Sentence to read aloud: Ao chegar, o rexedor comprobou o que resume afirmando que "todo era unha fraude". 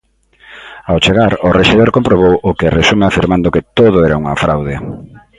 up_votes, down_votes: 2, 0